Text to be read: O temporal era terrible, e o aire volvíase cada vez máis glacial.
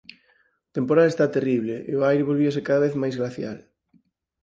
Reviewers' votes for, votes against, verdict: 0, 4, rejected